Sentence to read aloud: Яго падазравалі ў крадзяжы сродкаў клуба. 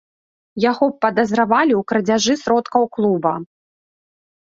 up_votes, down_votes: 3, 0